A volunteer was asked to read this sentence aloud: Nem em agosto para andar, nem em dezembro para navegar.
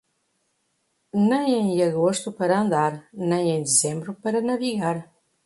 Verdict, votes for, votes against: accepted, 2, 1